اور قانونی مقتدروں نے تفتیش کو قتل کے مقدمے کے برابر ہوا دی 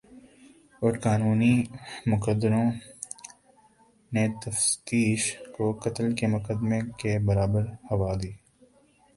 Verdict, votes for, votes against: rejected, 0, 2